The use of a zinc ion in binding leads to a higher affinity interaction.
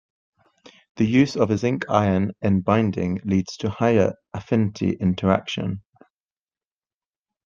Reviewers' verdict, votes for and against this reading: rejected, 0, 2